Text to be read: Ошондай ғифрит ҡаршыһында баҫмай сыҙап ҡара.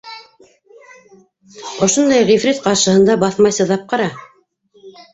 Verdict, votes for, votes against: rejected, 1, 2